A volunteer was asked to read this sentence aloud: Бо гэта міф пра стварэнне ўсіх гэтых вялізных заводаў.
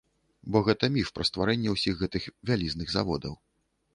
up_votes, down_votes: 2, 0